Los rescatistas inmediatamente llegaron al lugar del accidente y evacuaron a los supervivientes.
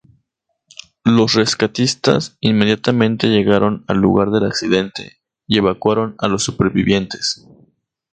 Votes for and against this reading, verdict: 2, 0, accepted